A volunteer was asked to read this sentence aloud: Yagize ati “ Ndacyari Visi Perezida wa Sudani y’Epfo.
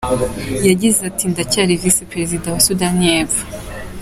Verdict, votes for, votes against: accepted, 2, 1